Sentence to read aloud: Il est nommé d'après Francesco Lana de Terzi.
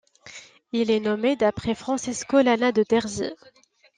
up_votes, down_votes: 2, 0